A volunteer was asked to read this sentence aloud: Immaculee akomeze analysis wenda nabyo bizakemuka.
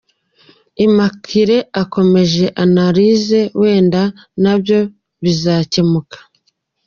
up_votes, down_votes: 2, 1